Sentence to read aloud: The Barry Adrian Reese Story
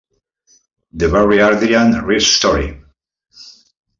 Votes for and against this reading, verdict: 1, 2, rejected